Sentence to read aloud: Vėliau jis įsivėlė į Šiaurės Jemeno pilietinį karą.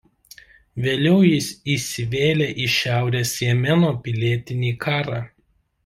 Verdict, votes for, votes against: accepted, 2, 1